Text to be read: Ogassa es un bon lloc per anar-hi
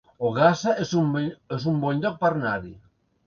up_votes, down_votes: 0, 3